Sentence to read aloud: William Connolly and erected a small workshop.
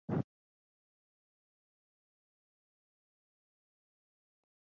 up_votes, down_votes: 0, 2